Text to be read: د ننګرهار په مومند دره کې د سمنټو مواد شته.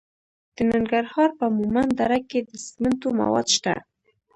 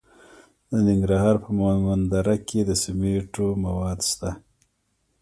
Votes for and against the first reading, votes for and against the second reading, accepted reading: 0, 2, 3, 0, second